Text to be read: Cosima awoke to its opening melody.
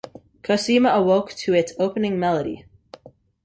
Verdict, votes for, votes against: accepted, 2, 0